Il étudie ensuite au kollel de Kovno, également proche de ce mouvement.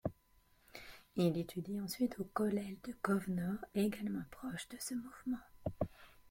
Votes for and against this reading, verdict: 0, 2, rejected